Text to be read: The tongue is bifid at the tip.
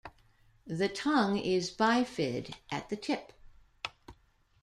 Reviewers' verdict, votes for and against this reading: accepted, 2, 0